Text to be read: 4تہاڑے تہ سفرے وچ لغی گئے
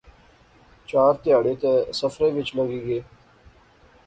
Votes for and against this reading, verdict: 0, 2, rejected